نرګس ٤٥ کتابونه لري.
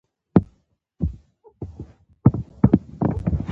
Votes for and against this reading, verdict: 0, 2, rejected